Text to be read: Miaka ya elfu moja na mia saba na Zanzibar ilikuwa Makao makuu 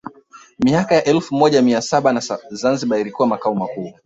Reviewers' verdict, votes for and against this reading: rejected, 1, 2